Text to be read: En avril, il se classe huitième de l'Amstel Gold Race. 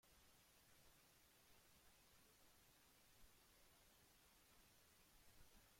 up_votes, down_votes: 1, 2